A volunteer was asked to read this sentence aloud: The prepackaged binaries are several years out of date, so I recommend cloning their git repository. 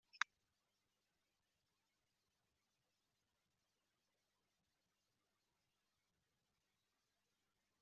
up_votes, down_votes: 0, 3